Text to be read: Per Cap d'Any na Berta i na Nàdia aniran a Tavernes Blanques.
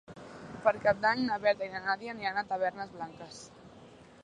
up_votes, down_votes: 3, 0